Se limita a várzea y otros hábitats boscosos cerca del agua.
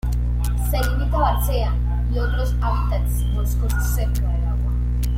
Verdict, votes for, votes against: rejected, 0, 2